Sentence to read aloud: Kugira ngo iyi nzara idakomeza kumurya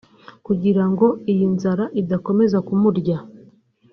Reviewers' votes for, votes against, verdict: 2, 0, accepted